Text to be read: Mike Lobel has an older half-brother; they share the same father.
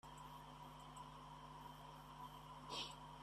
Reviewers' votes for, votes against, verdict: 0, 2, rejected